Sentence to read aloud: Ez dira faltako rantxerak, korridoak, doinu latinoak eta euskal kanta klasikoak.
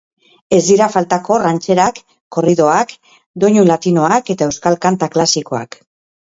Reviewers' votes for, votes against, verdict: 2, 0, accepted